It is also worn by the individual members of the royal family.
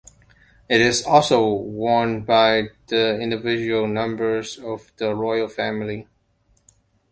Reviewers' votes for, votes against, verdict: 2, 1, accepted